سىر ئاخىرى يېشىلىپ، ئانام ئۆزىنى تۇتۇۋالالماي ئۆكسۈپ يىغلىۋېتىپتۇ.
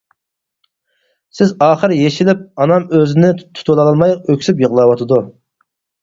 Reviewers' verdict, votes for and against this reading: rejected, 0, 4